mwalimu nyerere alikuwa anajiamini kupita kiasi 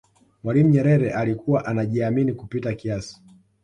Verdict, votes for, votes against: accepted, 2, 0